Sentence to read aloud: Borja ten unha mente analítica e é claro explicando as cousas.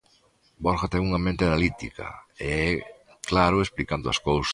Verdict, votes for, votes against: accepted, 2, 0